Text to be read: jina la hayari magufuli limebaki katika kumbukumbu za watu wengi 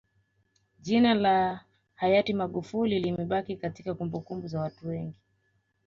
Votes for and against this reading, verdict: 2, 1, accepted